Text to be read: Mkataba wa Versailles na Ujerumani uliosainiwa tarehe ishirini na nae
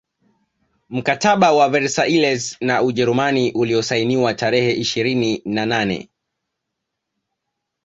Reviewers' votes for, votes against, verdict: 1, 2, rejected